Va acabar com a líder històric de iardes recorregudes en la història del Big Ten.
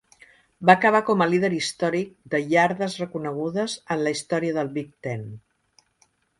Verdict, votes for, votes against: rejected, 1, 3